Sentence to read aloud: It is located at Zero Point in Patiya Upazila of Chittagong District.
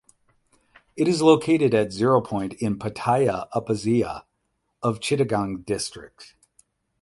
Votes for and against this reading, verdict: 4, 4, rejected